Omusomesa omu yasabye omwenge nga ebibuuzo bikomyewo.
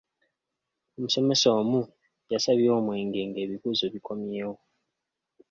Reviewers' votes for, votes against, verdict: 2, 1, accepted